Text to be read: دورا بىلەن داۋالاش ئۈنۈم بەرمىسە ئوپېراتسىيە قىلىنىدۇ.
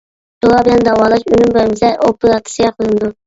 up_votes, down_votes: 0, 2